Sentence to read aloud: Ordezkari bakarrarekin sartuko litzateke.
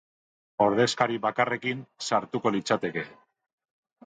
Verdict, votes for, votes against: rejected, 0, 2